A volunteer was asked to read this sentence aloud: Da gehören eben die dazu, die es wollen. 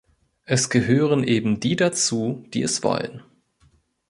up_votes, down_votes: 0, 2